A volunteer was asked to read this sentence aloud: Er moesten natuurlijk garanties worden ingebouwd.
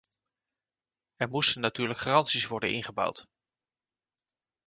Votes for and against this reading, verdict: 2, 0, accepted